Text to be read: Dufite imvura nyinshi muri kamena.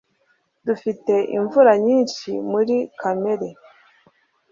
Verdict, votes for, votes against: rejected, 0, 2